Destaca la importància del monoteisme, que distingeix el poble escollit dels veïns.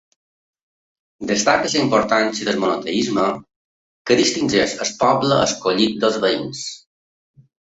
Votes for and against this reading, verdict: 1, 2, rejected